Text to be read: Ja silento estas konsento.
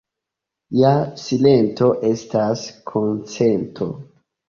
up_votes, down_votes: 2, 1